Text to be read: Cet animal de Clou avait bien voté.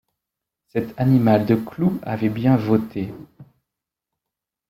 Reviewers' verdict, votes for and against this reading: accepted, 2, 0